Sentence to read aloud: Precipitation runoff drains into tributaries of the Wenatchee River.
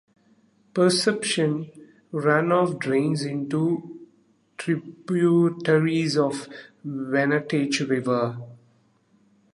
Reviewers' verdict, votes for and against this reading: rejected, 0, 2